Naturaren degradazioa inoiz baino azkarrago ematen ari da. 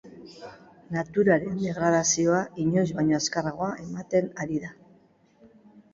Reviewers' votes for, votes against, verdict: 2, 2, rejected